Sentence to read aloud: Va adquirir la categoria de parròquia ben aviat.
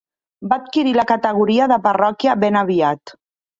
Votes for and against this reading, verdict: 2, 0, accepted